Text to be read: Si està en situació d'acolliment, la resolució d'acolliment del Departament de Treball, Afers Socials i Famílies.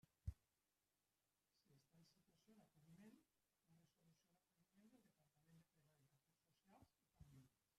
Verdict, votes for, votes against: rejected, 0, 2